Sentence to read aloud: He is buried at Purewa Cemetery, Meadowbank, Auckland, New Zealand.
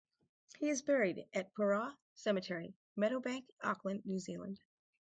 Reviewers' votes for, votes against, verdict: 4, 0, accepted